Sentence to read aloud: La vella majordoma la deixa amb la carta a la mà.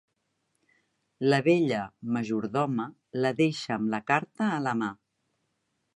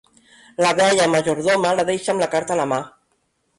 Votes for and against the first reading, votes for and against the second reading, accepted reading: 4, 0, 0, 2, first